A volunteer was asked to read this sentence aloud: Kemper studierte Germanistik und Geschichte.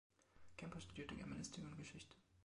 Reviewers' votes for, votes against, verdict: 2, 1, accepted